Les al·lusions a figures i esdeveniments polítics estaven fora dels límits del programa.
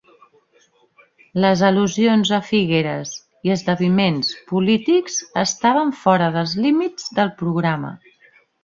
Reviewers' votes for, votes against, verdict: 0, 3, rejected